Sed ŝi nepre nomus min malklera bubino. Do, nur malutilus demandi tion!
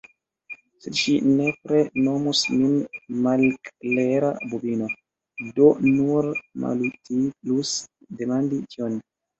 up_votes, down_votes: 2, 3